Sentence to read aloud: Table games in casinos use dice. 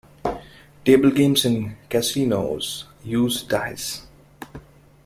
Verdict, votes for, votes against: accepted, 2, 0